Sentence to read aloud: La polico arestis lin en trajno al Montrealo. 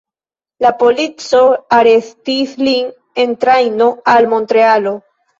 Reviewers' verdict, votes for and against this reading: accepted, 2, 1